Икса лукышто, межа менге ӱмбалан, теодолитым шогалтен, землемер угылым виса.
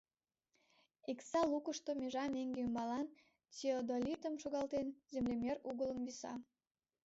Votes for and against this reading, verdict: 0, 2, rejected